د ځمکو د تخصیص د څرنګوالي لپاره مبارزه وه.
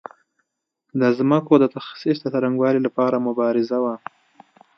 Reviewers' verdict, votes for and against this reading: accepted, 2, 0